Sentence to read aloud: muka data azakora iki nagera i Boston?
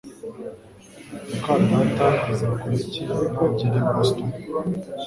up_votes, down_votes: 4, 0